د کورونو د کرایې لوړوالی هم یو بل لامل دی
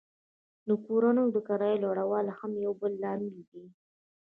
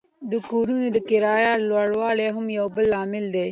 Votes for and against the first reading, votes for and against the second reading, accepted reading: 1, 2, 2, 0, second